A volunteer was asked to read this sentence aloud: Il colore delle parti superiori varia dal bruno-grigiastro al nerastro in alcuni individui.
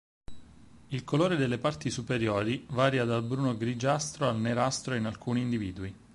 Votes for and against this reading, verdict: 4, 0, accepted